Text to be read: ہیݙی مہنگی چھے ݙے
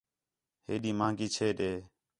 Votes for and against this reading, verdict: 4, 0, accepted